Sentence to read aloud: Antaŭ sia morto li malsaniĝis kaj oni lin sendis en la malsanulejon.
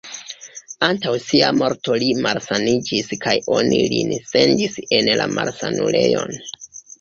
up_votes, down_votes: 2, 1